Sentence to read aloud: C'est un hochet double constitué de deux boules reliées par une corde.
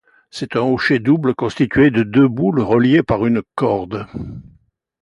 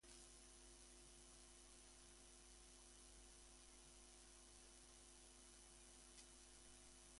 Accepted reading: first